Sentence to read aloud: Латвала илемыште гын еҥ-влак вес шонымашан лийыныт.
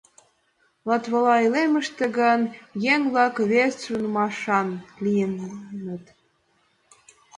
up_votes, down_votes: 0, 2